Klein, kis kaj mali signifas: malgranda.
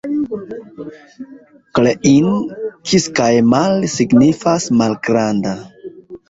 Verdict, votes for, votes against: rejected, 1, 2